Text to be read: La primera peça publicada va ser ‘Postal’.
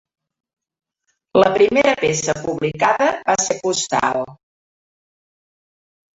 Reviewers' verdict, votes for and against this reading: accepted, 2, 0